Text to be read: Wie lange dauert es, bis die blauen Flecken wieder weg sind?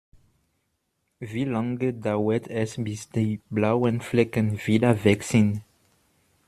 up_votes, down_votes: 1, 2